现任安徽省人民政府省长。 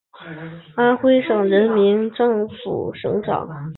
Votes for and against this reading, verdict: 0, 2, rejected